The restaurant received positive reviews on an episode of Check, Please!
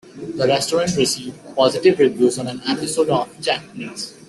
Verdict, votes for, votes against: rejected, 1, 2